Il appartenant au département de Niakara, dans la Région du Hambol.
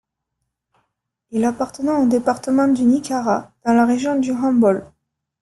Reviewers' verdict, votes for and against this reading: accepted, 2, 1